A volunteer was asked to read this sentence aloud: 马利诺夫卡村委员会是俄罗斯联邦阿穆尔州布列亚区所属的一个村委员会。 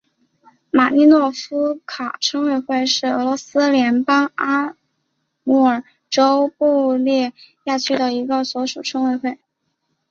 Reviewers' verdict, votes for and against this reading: rejected, 0, 2